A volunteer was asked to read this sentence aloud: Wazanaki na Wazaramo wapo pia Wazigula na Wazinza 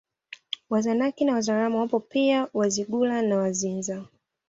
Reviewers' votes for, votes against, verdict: 2, 0, accepted